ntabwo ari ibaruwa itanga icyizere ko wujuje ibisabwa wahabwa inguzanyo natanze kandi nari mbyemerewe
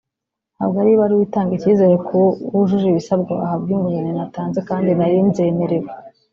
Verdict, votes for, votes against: rejected, 0, 2